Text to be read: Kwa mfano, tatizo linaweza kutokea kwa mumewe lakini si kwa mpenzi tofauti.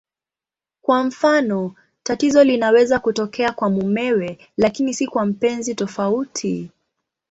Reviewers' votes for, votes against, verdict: 2, 1, accepted